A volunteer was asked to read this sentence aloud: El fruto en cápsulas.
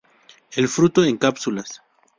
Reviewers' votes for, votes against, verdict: 0, 2, rejected